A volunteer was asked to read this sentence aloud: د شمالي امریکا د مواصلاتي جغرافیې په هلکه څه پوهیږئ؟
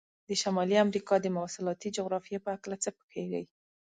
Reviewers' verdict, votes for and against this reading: accepted, 2, 0